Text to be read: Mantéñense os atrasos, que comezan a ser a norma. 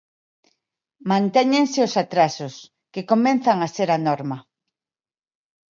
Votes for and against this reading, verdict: 0, 2, rejected